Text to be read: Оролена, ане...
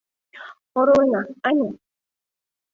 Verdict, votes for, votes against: accepted, 2, 0